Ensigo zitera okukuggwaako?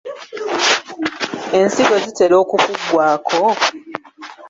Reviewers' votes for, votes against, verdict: 2, 1, accepted